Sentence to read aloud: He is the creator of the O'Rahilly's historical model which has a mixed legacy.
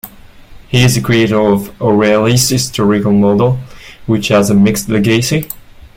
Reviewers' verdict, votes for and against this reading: accepted, 2, 1